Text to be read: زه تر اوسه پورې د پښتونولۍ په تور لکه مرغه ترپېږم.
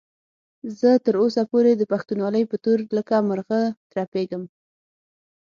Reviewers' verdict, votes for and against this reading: accepted, 6, 0